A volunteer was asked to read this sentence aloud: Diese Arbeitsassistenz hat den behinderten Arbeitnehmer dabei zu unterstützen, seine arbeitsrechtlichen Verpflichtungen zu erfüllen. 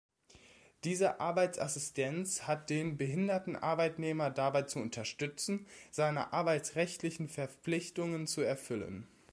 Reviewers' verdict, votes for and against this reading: accepted, 2, 0